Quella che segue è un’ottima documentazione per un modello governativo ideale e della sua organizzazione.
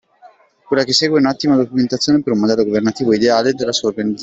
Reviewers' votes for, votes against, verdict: 0, 2, rejected